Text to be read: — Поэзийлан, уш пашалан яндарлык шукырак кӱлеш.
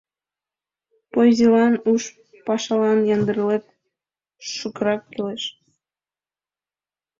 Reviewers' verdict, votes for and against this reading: accepted, 2, 1